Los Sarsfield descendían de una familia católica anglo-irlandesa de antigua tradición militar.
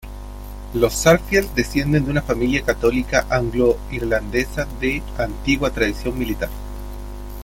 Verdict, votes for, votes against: rejected, 1, 2